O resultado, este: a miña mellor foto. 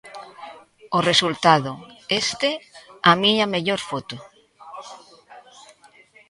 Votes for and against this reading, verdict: 2, 0, accepted